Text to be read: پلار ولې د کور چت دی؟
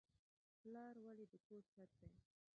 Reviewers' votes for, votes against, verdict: 1, 2, rejected